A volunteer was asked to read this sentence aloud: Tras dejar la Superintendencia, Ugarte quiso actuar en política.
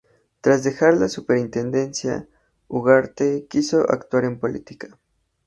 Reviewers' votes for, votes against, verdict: 2, 0, accepted